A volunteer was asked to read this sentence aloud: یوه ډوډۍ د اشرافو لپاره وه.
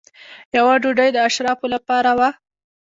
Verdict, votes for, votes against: rejected, 1, 2